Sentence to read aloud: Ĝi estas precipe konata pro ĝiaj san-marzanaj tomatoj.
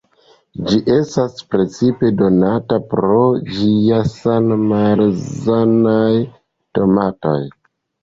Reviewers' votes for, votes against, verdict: 1, 2, rejected